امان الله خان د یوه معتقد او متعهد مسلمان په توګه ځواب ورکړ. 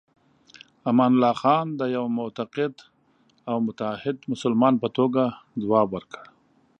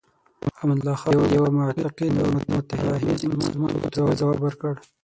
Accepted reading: first